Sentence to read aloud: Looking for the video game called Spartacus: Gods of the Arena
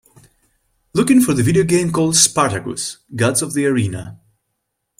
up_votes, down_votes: 2, 0